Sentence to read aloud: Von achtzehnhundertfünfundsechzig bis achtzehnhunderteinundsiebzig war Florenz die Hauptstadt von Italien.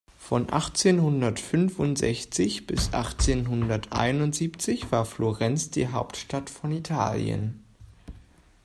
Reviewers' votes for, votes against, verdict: 2, 0, accepted